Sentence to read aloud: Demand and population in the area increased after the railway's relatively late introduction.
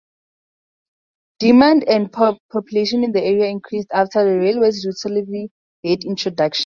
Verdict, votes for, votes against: rejected, 0, 4